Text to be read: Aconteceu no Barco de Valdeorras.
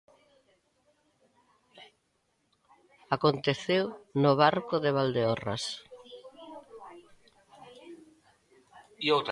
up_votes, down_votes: 1, 2